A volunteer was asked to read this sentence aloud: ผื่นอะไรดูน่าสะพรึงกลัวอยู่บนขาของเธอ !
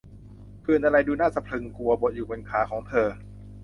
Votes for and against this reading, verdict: 0, 2, rejected